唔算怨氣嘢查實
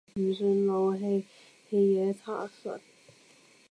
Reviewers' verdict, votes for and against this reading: rejected, 1, 2